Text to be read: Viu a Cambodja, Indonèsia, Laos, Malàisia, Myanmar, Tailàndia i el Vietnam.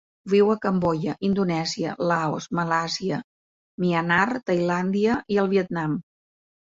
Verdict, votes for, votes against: accepted, 2, 0